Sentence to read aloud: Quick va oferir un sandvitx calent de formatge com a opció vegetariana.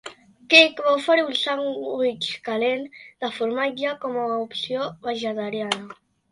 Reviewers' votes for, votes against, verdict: 2, 1, accepted